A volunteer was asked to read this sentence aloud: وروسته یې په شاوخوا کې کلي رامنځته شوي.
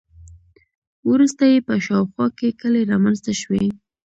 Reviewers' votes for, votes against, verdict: 2, 0, accepted